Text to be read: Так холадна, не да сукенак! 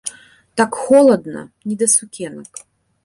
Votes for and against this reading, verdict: 2, 0, accepted